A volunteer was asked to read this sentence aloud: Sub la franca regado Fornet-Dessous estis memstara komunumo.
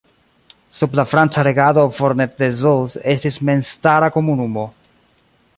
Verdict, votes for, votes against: rejected, 0, 2